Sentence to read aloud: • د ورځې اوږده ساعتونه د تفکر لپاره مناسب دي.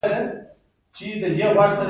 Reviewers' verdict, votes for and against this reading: rejected, 1, 2